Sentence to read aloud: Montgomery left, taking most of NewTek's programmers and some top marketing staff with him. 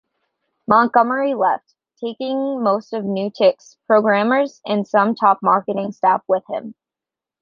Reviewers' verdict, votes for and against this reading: accepted, 3, 0